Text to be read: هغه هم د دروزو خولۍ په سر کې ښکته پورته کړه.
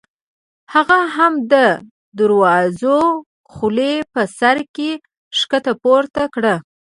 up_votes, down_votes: 1, 2